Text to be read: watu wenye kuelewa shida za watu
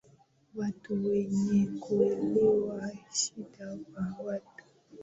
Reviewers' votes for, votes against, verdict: 2, 0, accepted